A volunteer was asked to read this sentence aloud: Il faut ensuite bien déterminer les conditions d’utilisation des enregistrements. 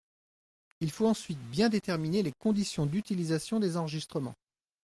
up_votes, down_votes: 2, 0